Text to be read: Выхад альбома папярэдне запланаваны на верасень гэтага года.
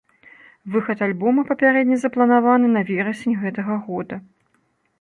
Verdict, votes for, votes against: accepted, 2, 0